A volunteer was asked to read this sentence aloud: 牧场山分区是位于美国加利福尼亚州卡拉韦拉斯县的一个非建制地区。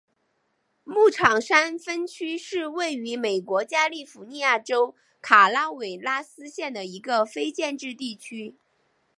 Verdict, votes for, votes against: accepted, 2, 0